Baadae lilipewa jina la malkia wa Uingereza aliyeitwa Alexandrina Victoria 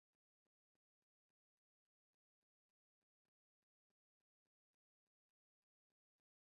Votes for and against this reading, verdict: 0, 2, rejected